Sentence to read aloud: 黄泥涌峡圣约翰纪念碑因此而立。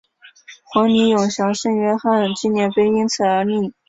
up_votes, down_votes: 3, 2